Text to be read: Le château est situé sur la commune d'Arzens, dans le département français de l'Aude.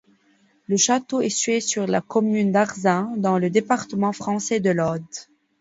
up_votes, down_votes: 0, 2